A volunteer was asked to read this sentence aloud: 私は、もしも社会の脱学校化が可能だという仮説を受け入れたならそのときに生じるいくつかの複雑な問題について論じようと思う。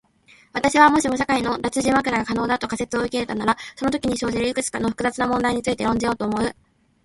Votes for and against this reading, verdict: 0, 2, rejected